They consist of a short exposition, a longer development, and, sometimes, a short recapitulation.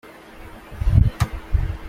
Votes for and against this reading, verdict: 0, 2, rejected